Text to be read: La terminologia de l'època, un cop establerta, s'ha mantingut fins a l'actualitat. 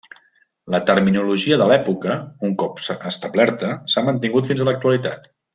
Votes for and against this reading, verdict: 0, 2, rejected